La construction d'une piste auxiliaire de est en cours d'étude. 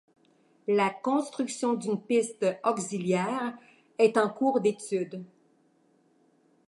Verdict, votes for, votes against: rejected, 0, 2